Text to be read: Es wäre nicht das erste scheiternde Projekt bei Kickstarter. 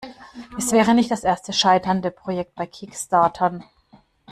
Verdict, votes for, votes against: rejected, 0, 2